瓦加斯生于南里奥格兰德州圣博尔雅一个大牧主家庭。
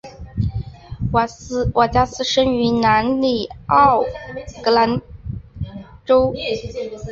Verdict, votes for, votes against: rejected, 1, 2